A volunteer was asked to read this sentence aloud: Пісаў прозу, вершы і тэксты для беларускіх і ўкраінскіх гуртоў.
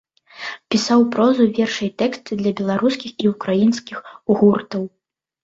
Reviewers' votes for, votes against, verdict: 1, 2, rejected